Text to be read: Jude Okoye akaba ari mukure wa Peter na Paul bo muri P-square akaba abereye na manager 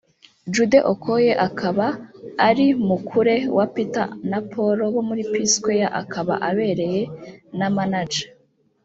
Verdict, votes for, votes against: rejected, 1, 2